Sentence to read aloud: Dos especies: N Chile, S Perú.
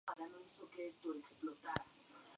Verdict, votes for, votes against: rejected, 0, 2